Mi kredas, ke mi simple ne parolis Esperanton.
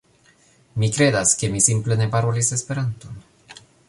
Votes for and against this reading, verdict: 0, 2, rejected